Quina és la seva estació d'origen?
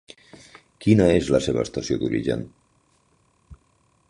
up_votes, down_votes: 3, 0